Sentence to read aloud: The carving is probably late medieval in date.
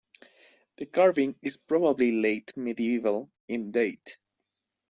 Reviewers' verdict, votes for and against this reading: accepted, 2, 0